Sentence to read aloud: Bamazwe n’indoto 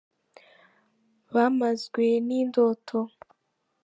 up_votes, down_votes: 2, 0